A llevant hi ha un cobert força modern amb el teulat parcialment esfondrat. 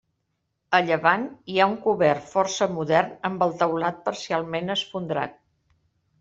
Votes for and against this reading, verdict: 2, 0, accepted